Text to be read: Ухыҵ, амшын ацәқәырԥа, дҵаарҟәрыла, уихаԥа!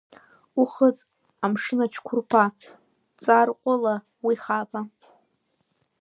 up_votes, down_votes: 0, 2